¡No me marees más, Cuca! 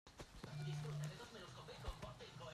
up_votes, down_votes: 0, 2